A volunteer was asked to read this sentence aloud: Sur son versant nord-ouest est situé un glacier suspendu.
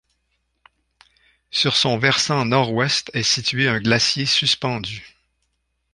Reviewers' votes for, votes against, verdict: 3, 1, accepted